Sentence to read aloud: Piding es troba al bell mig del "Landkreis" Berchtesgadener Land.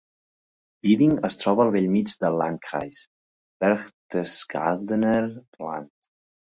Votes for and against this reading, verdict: 2, 1, accepted